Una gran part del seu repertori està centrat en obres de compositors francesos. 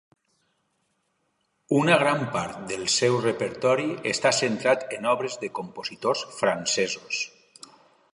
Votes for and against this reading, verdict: 2, 0, accepted